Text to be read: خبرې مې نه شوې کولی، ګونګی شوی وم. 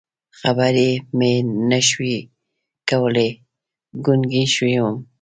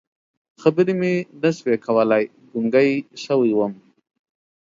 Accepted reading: second